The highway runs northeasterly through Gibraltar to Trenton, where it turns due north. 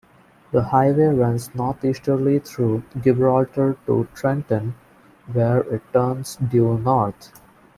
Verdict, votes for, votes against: rejected, 1, 2